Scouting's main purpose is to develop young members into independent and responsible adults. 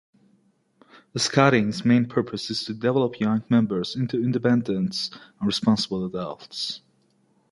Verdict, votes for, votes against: rejected, 1, 2